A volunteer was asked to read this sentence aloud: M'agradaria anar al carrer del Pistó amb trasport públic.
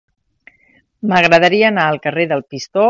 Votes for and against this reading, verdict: 1, 4, rejected